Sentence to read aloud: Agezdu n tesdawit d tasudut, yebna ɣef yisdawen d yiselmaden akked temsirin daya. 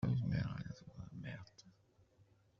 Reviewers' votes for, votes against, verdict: 0, 2, rejected